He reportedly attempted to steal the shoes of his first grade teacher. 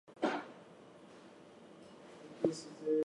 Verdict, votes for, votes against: rejected, 0, 4